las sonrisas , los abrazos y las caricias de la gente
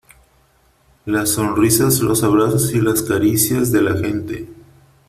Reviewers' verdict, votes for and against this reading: accepted, 3, 0